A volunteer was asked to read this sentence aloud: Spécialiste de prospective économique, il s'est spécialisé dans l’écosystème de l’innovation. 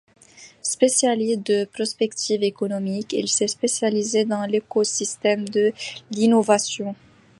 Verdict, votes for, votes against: rejected, 1, 2